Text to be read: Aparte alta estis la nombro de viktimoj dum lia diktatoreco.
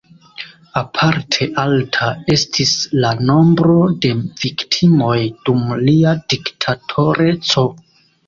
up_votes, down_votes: 2, 0